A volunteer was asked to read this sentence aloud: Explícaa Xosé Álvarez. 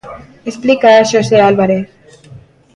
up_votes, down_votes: 2, 1